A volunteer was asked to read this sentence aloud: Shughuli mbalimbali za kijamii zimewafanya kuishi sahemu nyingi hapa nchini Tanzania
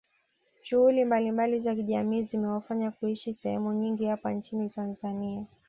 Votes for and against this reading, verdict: 2, 0, accepted